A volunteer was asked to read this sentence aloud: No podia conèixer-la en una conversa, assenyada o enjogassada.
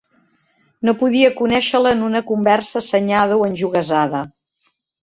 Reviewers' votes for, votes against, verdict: 1, 2, rejected